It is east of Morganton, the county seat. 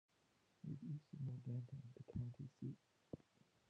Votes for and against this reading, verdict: 1, 2, rejected